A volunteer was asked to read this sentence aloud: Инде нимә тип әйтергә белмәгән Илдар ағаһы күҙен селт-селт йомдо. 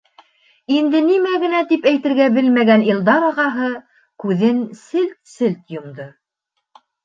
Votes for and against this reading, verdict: 0, 2, rejected